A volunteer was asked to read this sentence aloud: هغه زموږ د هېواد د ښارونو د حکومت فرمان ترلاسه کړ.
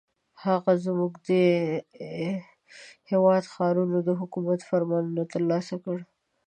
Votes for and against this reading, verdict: 0, 2, rejected